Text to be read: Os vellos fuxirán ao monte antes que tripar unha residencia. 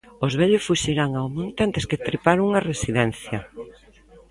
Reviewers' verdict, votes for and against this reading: rejected, 1, 2